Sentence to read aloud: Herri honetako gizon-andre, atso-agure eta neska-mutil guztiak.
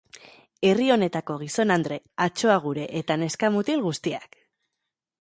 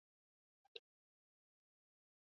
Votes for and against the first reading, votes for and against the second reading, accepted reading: 3, 0, 0, 2, first